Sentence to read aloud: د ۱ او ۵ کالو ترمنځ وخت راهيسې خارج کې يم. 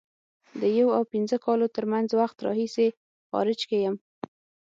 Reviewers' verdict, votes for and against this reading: rejected, 0, 2